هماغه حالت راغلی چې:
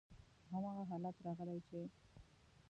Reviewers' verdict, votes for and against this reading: rejected, 1, 2